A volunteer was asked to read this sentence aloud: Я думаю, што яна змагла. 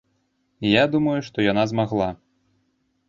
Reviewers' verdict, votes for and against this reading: accepted, 2, 0